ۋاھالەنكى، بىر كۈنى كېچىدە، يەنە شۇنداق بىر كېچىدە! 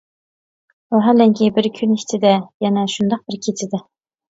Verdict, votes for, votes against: rejected, 1, 2